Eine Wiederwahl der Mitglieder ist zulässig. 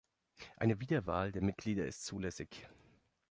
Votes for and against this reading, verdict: 2, 0, accepted